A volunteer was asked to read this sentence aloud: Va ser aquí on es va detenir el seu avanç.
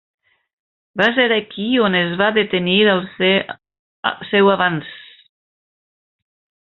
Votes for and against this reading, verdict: 0, 2, rejected